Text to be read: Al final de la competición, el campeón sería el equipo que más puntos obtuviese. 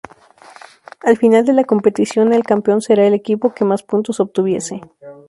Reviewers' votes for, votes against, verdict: 0, 2, rejected